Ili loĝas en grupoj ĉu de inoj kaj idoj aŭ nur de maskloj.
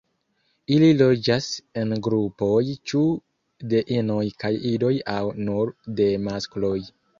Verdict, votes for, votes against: accepted, 2, 0